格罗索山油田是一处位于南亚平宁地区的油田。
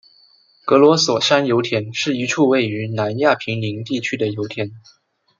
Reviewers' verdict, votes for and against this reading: accepted, 2, 0